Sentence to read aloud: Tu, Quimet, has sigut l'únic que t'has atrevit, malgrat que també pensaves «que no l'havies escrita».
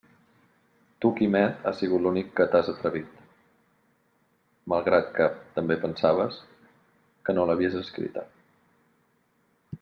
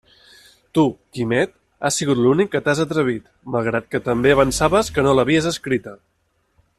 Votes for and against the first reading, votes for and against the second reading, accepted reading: 2, 0, 0, 2, first